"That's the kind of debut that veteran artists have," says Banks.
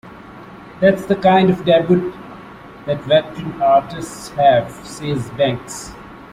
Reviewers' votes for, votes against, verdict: 0, 2, rejected